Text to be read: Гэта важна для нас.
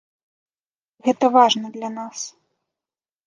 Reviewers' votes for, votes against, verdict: 2, 0, accepted